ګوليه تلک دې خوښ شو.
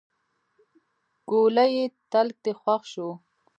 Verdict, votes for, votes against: rejected, 1, 2